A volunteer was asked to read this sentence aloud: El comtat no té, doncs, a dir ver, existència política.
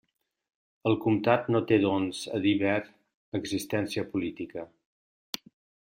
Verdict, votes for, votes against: accepted, 2, 0